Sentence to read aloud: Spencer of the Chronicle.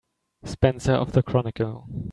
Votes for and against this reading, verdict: 2, 0, accepted